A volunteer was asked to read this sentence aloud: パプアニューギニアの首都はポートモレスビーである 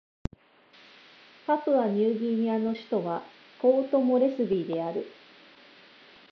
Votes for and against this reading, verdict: 3, 0, accepted